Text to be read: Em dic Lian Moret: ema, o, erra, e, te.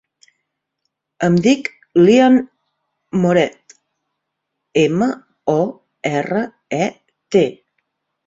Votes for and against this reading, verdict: 1, 2, rejected